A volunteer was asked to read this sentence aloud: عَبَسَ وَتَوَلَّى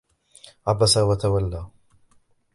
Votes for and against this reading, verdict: 2, 1, accepted